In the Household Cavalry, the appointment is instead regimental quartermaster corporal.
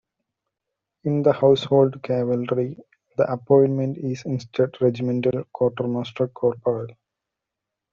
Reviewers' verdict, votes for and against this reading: rejected, 0, 2